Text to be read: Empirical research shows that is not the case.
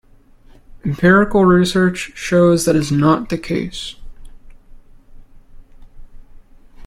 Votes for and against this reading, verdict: 2, 0, accepted